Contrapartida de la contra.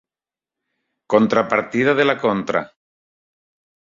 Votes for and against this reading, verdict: 3, 0, accepted